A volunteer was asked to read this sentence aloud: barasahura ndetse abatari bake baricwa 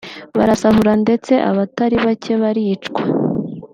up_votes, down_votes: 1, 2